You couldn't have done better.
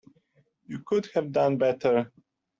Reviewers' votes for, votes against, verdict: 1, 2, rejected